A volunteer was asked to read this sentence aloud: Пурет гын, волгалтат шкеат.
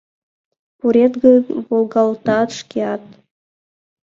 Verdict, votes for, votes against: accepted, 2, 0